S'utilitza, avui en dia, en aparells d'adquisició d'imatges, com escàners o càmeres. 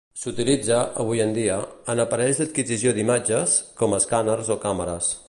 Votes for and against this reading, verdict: 2, 0, accepted